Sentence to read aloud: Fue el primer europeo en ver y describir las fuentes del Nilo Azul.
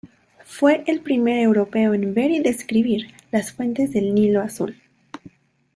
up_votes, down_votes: 2, 0